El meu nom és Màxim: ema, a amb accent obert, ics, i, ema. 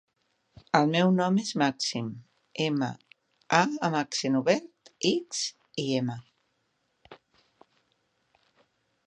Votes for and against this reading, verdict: 0, 2, rejected